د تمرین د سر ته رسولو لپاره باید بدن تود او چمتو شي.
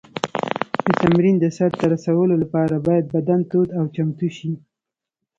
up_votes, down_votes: 2, 0